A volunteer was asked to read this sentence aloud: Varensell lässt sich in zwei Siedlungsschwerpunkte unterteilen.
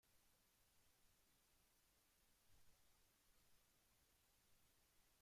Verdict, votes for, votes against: rejected, 0, 2